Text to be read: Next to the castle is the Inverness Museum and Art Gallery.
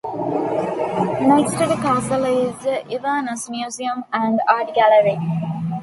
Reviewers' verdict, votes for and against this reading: accepted, 2, 0